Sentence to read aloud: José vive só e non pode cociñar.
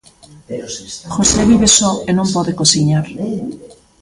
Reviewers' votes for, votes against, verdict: 2, 0, accepted